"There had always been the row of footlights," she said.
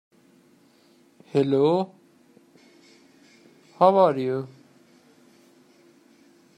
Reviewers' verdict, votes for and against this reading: rejected, 0, 2